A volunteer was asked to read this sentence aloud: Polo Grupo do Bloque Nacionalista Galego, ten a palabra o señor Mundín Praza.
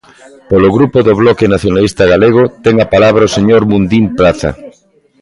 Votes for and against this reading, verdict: 1, 2, rejected